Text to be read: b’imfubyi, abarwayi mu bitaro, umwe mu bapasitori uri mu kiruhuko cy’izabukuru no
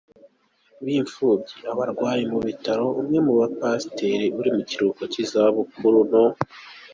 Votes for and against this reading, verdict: 2, 1, accepted